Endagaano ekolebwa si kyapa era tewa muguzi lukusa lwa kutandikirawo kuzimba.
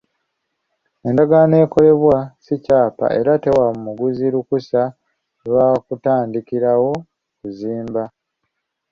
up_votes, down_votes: 3, 0